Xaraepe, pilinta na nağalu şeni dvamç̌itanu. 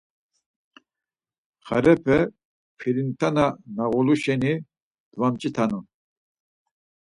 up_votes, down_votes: 0, 4